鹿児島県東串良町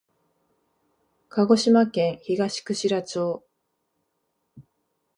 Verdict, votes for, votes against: accepted, 2, 0